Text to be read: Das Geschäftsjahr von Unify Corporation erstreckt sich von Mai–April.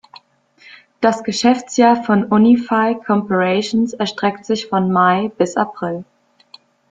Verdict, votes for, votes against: rejected, 1, 2